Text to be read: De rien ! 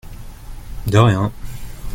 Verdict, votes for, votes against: accepted, 2, 0